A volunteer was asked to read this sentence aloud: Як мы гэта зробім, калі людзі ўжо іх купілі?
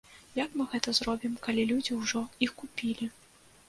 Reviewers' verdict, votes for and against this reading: accepted, 2, 0